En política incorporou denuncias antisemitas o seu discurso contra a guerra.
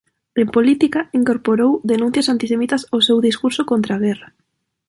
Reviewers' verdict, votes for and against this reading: accepted, 2, 0